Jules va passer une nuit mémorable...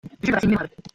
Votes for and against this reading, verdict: 0, 2, rejected